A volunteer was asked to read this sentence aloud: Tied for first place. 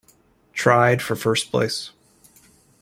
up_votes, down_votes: 0, 2